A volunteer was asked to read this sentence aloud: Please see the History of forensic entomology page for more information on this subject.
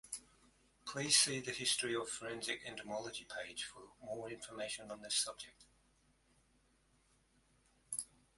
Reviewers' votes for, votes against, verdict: 2, 0, accepted